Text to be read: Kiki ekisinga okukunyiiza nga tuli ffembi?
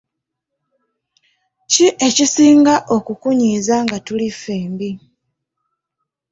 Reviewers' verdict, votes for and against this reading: rejected, 0, 2